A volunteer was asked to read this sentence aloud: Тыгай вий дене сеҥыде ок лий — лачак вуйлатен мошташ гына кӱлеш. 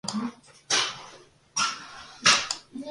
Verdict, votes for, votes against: rejected, 0, 2